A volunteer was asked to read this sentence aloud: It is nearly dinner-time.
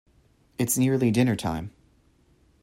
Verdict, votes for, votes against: rejected, 1, 2